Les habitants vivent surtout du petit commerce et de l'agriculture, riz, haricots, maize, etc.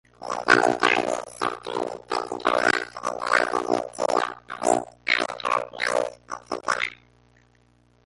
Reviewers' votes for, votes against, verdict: 0, 2, rejected